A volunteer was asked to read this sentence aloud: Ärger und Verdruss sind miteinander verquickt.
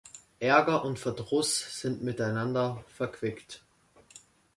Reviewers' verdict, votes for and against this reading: accepted, 2, 0